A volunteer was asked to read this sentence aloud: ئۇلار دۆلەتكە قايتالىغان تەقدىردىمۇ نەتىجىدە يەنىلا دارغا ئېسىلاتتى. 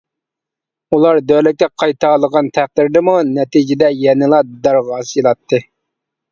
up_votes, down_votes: 0, 2